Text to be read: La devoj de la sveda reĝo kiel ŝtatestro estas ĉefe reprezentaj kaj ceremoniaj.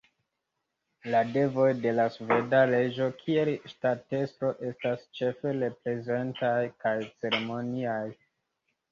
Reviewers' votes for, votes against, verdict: 0, 2, rejected